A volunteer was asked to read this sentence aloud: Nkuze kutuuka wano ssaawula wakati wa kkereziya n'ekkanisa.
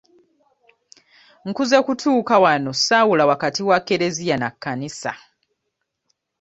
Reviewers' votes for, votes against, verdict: 1, 2, rejected